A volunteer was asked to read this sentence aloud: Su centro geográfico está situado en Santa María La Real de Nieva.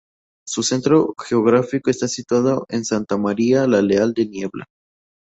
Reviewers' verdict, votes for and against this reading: accepted, 2, 0